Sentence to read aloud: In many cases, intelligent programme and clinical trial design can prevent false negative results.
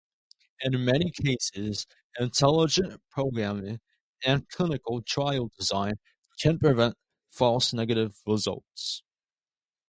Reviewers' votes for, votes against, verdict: 0, 2, rejected